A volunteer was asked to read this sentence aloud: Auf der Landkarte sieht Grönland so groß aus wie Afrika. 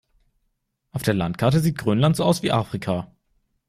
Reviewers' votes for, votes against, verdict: 1, 2, rejected